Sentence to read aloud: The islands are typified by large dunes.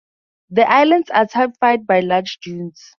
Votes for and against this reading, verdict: 2, 0, accepted